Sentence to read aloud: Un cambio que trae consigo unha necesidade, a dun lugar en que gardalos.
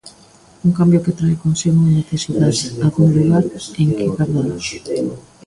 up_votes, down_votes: 0, 2